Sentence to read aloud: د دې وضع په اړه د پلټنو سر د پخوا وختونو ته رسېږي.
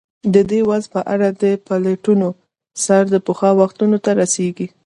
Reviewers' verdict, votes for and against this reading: rejected, 1, 2